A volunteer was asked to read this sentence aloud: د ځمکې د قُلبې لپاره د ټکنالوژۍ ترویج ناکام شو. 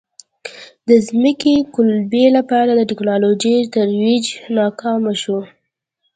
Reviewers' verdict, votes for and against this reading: accepted, 2, 0